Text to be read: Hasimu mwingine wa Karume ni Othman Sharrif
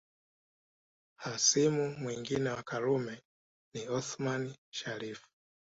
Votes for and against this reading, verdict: 2, 0, accepted